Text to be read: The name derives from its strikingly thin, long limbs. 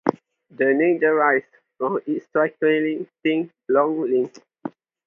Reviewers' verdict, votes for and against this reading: rejected, 2, 2